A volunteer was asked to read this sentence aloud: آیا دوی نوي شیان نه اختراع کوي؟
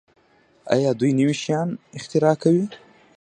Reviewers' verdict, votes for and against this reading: rejected, 0, 2